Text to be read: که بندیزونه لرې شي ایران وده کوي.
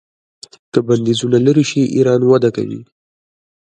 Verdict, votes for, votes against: accepted, 2, 0